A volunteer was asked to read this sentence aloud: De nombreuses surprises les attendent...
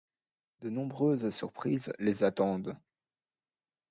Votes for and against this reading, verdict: 2, 0, accepted